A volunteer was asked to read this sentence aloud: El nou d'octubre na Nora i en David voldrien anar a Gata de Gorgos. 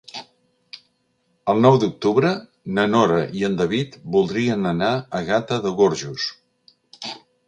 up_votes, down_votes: 0, 2